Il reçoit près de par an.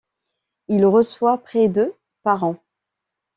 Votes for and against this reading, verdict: 2, 0, accepted